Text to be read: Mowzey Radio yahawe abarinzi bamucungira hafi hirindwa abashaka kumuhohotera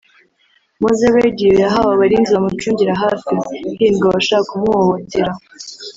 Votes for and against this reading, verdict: 1, 2, rejected